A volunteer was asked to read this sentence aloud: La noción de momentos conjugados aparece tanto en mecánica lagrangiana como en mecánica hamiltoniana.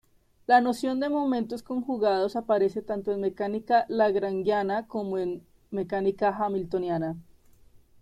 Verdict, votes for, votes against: rejected, 0, 2